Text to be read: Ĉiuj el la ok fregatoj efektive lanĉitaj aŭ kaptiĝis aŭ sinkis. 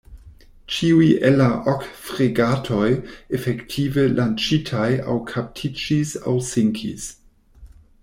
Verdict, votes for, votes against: rejected, 1, 2